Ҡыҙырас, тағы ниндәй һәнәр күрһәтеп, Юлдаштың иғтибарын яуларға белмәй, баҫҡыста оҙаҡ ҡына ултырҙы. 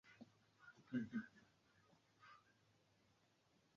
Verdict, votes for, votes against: rejected, 0, 2